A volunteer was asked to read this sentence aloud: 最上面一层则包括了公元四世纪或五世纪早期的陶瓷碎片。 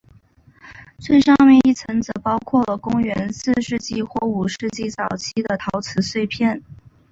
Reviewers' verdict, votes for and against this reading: accepted, 2, 0